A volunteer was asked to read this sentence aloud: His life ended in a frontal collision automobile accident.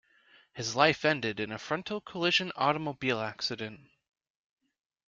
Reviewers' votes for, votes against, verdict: 2, 1, accepted